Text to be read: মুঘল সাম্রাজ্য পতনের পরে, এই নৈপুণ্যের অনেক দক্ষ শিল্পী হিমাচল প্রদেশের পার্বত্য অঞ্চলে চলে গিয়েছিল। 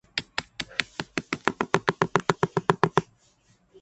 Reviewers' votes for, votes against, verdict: 0, 4, rejected